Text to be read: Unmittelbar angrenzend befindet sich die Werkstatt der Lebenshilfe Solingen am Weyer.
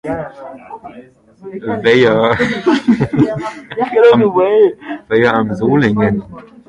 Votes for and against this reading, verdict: 0, 2, rejected